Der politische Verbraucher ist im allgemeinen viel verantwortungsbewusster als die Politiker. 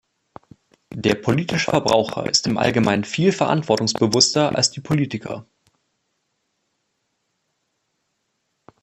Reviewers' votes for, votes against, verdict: 1, 2, rejected